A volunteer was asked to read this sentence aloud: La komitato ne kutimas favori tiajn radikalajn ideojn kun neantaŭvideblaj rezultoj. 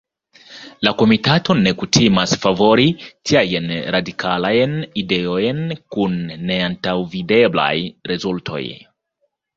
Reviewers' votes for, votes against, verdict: 2, 0, accepted